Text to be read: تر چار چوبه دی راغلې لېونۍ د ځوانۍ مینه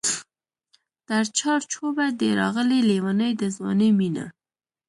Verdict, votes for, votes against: rejected, 1, 2